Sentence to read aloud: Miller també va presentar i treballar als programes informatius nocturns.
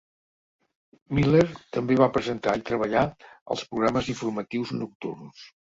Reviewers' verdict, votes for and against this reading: accepted, 3, 0